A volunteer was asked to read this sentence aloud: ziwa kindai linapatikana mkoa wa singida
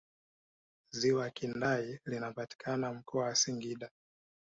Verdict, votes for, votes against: accepted, 2, 0